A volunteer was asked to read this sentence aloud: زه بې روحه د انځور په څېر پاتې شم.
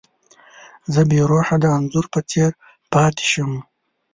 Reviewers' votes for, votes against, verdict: 2, 0, accepted